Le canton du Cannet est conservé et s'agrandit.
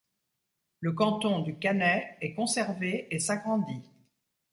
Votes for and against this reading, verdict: 1, 2, rejected